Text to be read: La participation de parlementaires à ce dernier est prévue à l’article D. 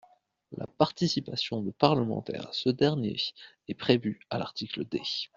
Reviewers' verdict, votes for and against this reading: accepted, 2, 0